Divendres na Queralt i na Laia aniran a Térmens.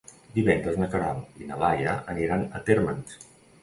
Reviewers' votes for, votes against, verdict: 2, 1, accepted